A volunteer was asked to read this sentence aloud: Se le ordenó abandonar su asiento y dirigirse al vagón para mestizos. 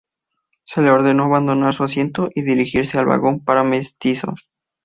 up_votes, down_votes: 2, 0